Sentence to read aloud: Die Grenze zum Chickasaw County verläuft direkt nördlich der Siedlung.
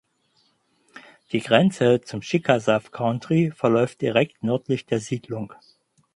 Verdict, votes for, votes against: rejected, 2, 2